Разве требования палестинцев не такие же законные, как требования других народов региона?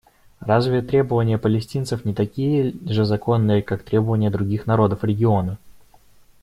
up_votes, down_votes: 0, 2